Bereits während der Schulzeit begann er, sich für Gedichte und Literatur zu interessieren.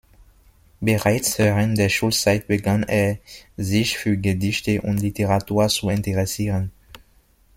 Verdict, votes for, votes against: rejected, 1, 2